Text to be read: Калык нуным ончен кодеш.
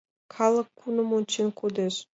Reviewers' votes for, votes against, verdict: 1, 2, rejected